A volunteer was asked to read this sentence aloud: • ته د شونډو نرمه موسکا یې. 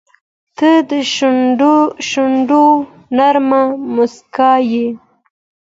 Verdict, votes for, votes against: accepted, 2, 0